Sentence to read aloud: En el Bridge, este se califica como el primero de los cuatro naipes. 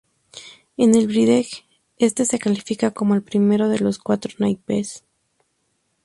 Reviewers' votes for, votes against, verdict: 0, 2, rejected